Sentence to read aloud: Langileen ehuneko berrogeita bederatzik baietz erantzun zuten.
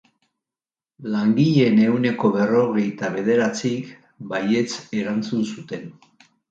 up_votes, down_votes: 3, 0